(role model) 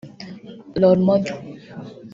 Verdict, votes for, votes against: rejected, 0, 2